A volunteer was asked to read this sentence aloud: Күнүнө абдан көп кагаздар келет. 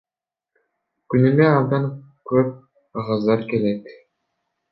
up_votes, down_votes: 0, 2